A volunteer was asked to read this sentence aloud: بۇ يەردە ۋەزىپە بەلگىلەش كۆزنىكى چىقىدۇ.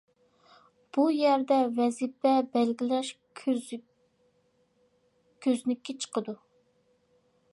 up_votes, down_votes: 0, 2